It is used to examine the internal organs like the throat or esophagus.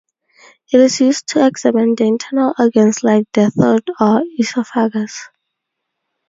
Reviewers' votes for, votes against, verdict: 4, 0, accepted